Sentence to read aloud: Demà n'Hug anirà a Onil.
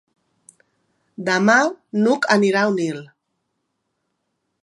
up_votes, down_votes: 3, 0